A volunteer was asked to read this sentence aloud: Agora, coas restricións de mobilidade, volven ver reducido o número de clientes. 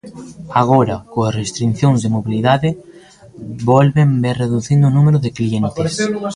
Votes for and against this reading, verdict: 0, 2, rejected